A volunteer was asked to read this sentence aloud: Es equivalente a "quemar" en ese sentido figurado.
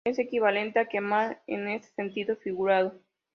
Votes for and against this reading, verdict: 3, 0, accepted